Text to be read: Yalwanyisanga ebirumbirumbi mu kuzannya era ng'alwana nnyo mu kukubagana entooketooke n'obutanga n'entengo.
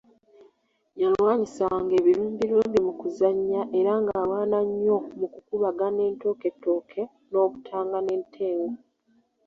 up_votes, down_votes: 2, 0